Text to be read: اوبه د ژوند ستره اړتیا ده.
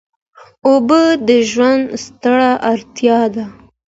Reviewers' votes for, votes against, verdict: 2, 0, accepted